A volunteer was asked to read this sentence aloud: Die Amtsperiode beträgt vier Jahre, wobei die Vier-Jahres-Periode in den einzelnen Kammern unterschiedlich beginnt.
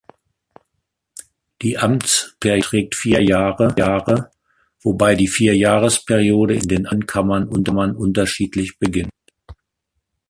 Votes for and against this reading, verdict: 0, 2, rejected